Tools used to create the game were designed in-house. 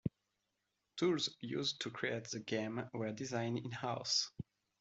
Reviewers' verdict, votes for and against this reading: accepted, 2, 0